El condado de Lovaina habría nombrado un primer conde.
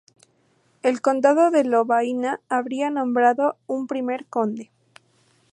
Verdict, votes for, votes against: accepted, 2, 0